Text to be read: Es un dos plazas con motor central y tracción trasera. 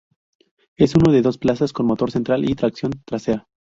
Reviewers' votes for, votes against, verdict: 0, 2, rejected